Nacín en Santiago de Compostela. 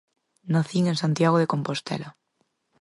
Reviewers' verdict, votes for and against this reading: accepted, 4, 0